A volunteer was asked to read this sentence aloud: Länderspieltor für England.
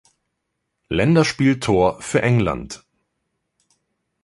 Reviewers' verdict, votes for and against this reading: accepted, 2, 0